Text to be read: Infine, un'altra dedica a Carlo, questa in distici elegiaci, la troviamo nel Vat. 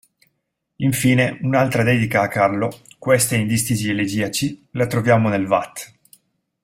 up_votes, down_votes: 2, 0